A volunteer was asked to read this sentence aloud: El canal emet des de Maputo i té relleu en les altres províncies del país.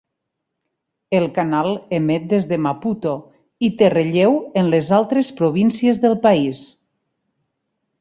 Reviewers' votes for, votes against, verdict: 4, 0, accepted